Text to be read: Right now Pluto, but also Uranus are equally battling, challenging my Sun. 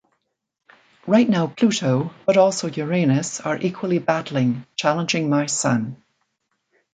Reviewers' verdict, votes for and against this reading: accepted, 2, 1